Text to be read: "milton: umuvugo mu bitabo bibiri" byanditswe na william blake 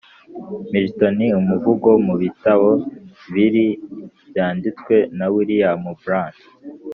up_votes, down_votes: 2, 3